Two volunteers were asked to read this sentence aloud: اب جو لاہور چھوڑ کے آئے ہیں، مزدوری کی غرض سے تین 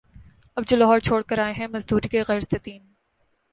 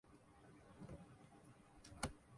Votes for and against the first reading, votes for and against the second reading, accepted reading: 2, 0, 0, 2, first